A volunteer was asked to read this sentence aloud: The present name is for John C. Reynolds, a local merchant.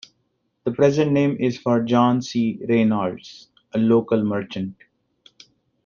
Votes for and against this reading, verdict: 1, 2, rejected